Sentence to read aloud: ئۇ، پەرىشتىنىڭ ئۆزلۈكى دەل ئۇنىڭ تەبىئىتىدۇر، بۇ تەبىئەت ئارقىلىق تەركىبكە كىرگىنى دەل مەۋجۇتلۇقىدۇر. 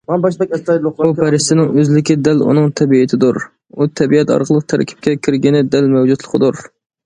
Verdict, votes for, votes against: rejected, 0, 2